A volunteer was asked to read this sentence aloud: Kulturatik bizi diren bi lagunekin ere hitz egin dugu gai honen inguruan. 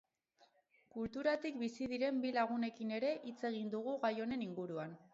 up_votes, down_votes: 0, 2